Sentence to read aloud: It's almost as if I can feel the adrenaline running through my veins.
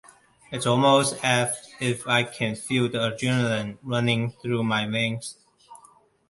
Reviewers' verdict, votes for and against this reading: accepted, 2, 1